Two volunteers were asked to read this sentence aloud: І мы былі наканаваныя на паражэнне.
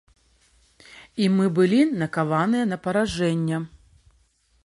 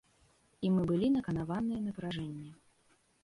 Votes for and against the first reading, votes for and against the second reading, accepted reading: 0, 2, 2, 0, second